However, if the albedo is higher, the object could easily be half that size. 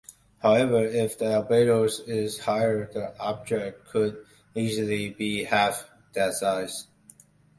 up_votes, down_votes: 0, 2